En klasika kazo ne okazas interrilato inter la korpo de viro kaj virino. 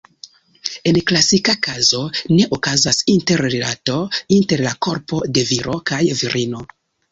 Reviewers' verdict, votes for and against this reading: accepted, 2, 0